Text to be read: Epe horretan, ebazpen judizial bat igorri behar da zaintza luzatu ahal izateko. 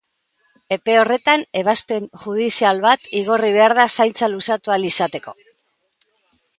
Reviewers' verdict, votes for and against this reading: accepted, 4, 0